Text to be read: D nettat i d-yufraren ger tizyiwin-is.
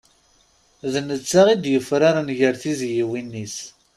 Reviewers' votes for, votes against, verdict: 1, 2, rejected